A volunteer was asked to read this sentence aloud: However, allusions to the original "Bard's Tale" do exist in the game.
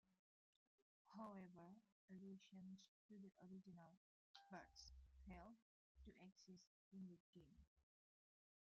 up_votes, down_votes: 1, 2